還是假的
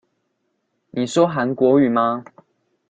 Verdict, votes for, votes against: rejected, 0, 2